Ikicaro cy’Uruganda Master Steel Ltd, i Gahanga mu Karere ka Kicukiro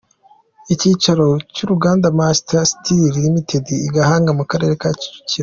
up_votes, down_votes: 2, 1